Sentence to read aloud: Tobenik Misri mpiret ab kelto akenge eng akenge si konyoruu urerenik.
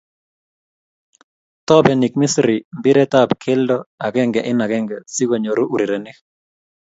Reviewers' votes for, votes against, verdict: 2, 0, accepted